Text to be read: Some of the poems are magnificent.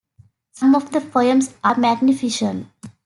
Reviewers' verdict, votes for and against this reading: rejected, 0, 2